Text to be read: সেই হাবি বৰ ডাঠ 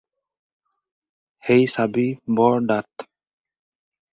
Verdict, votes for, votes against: rejected, 0, 4